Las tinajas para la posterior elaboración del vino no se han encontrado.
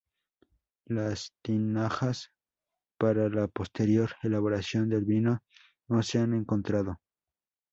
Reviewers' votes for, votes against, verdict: 0, 2, rejected